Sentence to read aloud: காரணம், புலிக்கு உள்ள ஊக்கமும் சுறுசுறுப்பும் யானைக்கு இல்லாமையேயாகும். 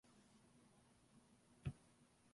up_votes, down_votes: 0, 2